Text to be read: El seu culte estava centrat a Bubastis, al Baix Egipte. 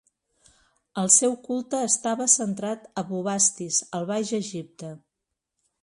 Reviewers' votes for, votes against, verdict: 2, 0, accepted